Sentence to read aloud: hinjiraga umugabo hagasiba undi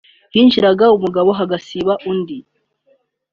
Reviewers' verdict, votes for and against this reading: accepted, 2, 0